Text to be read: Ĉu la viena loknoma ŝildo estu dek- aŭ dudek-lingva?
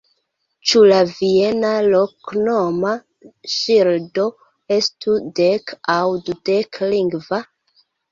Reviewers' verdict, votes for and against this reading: rejected, 0, 2